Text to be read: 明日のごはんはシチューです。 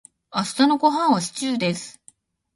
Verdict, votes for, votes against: rejected, 0, 2